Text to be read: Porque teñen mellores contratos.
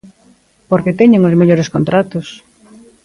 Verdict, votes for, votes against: rejected, 1, 2